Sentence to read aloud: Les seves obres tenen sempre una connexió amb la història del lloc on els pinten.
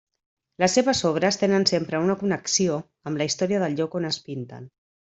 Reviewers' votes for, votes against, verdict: 1, 2, rejected